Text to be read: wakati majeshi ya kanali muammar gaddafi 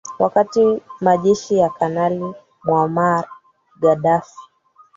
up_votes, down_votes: 2, 3